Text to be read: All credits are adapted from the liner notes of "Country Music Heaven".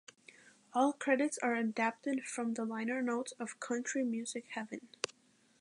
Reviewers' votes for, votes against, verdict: 2, 0, accepted